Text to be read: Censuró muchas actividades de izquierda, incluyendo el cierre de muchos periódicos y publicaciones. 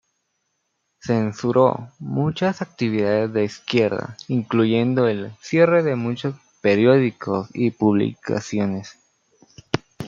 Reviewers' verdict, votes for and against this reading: rejected, 1, 2